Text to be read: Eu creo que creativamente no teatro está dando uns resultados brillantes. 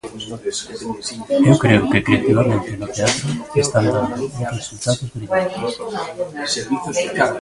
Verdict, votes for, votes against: rejected, 0, 2